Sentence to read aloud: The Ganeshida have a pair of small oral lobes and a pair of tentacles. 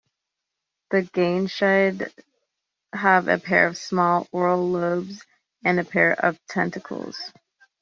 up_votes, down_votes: 0, 2